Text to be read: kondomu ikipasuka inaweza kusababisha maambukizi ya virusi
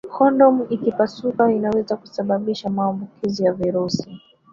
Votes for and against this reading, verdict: 0, 2, rejected